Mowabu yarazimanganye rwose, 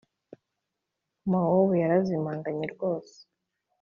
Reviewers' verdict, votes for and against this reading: accepted, 2, 0